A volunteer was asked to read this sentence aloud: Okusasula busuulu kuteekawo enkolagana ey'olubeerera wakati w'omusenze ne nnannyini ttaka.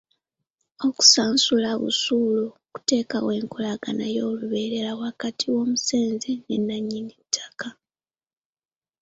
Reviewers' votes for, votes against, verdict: 0, 2, rejected